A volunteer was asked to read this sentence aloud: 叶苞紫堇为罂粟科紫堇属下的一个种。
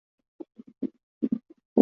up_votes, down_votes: 0, 3